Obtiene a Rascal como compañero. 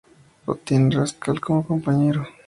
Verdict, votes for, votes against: rejected, 0, 2